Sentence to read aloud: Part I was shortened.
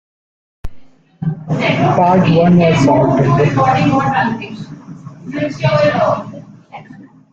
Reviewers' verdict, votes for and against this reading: rejected, 0, 2